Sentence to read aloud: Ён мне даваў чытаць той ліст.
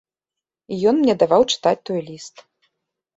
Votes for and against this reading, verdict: 2, 0, accepted